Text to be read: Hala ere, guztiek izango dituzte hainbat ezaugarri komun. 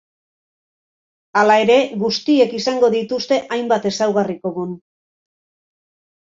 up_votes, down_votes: 2, 0